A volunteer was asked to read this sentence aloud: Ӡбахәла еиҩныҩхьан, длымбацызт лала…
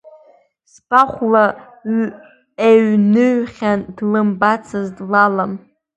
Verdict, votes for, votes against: rejected, 0, 2